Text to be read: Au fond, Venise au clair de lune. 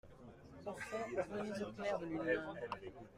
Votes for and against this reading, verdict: 0, 2, rejected